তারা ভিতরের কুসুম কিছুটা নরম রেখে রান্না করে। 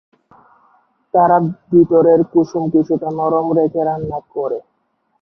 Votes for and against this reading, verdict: 1, 2, rejected